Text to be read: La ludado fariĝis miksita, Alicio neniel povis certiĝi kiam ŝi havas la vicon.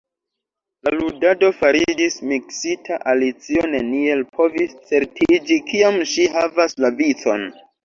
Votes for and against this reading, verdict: 1, 2, rejected